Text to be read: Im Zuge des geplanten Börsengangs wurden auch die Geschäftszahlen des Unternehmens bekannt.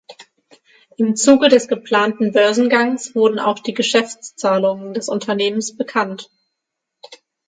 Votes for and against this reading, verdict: 0, 6, rejected